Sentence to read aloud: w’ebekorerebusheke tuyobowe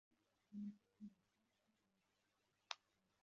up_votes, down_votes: 0, 2